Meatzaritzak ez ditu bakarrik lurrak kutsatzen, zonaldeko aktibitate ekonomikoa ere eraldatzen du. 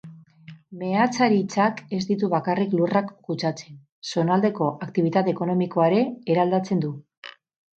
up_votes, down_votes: 4, 0